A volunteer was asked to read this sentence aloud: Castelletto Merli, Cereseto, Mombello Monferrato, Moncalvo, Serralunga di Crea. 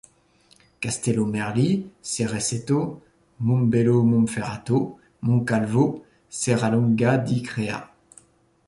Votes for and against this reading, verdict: 1, 2, rejected